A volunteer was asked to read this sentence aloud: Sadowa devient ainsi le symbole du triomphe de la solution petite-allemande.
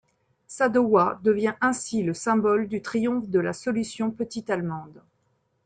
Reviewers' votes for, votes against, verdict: 2, 0, accepted